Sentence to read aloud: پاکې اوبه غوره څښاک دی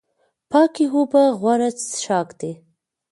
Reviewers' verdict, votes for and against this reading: rejected, 1, 2